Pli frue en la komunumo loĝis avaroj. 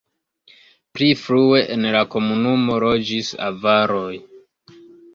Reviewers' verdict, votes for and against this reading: rejected, 0, 2